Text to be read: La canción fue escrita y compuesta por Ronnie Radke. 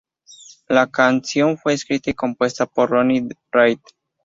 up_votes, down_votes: 2, 0